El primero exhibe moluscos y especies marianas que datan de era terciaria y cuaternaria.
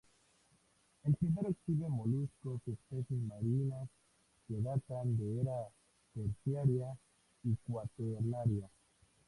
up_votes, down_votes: 0, 2